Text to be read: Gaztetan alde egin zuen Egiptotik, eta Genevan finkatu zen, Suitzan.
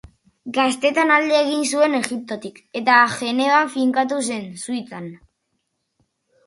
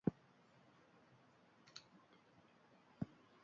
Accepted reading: first